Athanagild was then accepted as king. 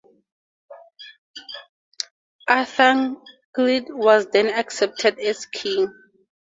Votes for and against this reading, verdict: 4, 0, accepted